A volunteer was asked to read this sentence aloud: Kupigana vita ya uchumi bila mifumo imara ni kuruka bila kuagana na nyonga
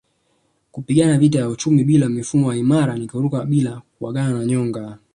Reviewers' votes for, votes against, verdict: 10, 2, accepted